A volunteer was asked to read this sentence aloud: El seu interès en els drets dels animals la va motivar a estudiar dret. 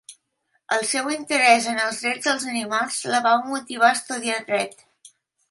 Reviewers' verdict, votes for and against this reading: accepted, 2, 0